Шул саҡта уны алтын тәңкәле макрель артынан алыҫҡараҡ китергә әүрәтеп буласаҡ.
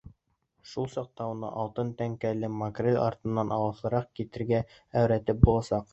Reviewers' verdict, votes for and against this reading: rejected, 0, 2